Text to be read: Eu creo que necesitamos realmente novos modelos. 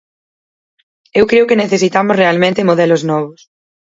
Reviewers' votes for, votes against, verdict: 0, 4, rejected